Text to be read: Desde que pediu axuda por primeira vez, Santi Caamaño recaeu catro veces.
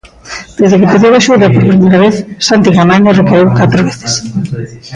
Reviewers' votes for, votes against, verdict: 1, 2, rejected